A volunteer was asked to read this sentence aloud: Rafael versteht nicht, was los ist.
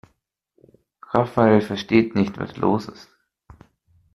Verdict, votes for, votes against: accepted, 2, 0